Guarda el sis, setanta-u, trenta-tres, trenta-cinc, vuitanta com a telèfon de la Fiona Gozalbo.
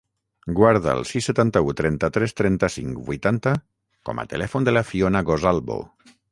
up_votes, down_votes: 3, 3